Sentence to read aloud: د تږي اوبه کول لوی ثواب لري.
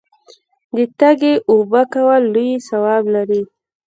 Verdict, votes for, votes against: rejected, 0, 2